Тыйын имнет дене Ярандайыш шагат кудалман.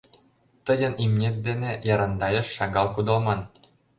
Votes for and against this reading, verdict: 1, 2, rejected